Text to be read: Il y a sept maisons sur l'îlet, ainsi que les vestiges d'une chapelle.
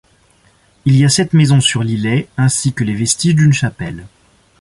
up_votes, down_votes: 2, 0